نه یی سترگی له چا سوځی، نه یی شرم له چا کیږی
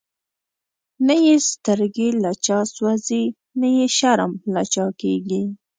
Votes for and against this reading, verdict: 2, 0, accepted